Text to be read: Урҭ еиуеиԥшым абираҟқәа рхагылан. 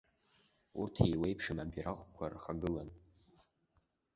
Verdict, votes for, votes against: rejected, 1, 2